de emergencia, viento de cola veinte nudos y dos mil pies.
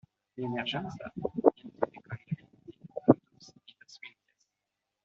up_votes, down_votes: 0, 2